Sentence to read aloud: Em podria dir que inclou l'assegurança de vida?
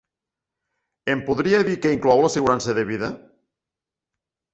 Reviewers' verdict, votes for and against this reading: accepted, 2, 0